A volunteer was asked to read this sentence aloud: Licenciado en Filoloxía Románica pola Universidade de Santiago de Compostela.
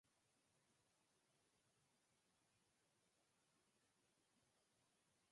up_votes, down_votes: 0, 4